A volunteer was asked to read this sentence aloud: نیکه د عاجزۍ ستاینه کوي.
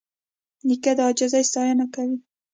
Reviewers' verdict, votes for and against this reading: accepted, 2, 0